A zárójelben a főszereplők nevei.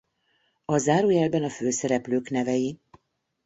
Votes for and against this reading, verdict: 2, 0, accepted